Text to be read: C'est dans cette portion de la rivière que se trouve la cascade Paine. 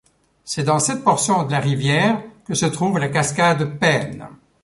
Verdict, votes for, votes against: accepted, 3, 0